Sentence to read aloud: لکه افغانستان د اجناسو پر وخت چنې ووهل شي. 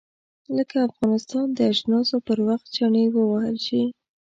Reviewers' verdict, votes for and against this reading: accepted, 2, 0